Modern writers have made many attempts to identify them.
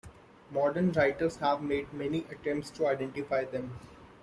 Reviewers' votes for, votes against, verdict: 2, 0, accepted